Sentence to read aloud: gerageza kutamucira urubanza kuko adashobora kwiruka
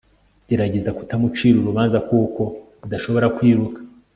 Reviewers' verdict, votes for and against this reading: accepted, 2, 0